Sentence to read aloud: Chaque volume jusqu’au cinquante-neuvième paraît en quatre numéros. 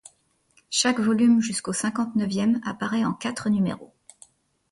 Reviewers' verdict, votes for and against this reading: rejected, 0, 2